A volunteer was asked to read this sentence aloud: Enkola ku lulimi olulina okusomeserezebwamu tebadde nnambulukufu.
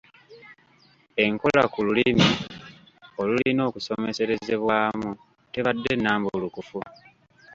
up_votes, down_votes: 2, 0